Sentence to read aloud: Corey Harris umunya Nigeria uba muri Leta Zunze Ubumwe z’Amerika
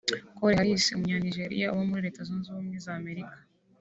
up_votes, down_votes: 3, 1